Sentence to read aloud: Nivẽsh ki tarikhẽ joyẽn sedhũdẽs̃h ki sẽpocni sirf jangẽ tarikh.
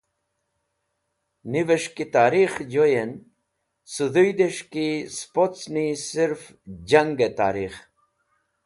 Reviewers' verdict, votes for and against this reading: accepted, 2, 0